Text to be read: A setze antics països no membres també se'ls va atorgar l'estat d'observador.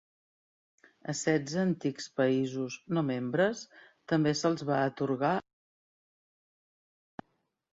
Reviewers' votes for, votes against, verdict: 0, 2, rejected